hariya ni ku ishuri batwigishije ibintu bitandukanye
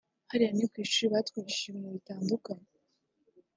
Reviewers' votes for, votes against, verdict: 0, 2, rejected